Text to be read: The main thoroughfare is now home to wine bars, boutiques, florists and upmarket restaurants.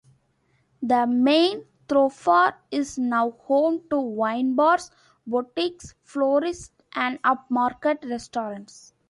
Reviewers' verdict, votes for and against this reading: accepted, 2, 0